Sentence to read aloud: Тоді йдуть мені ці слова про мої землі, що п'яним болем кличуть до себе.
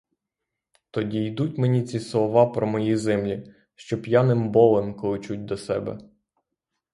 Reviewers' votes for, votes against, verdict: 3, 3, rejected